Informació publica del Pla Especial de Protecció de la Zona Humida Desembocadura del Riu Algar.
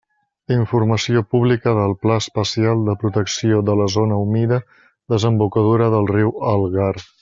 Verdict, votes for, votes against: accepted, 2, 1